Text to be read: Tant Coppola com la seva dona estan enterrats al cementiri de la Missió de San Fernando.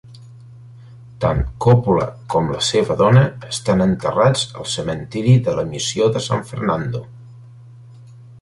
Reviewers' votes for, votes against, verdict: 2, 1, accepted